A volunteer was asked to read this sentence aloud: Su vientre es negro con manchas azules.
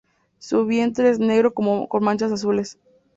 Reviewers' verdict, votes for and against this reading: rejected, 0, 2